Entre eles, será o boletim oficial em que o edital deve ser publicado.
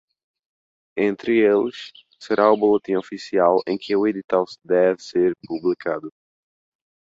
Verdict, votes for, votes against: rejected, 1, 2